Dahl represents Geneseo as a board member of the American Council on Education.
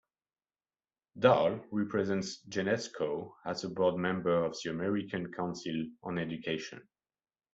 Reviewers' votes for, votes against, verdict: 0, 2, rejected